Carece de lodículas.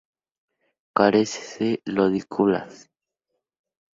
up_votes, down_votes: 2, 0